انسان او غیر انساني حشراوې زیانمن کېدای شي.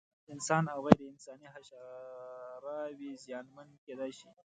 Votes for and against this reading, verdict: 0, 2, rejected